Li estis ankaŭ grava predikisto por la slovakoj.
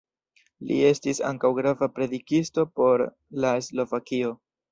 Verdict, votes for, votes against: rejected, 1, 2